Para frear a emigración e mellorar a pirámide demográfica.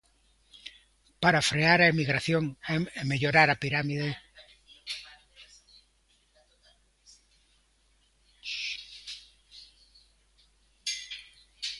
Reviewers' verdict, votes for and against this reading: rejected, 0, 2